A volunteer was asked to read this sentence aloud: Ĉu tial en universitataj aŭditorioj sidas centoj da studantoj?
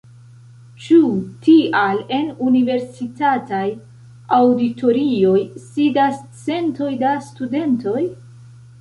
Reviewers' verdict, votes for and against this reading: rejected, 1, 2